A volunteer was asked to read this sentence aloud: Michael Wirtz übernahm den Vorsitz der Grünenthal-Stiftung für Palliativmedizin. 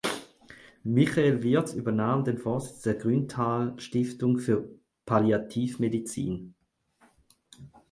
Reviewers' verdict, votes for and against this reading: accepted, 4, 2